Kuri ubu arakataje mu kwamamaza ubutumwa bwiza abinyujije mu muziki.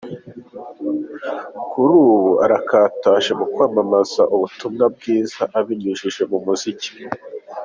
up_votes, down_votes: 2, 0